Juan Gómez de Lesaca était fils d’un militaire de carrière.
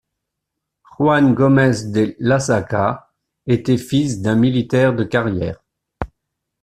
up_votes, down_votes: 0, 2